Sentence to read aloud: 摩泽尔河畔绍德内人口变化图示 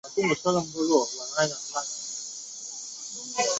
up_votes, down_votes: 0, 5